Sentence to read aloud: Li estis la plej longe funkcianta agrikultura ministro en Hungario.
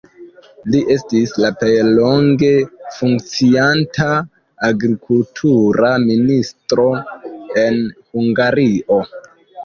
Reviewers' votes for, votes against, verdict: 2, 3, rejected